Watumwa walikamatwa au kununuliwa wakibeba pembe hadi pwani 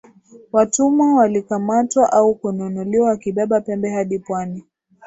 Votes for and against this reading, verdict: 2, 0, accepted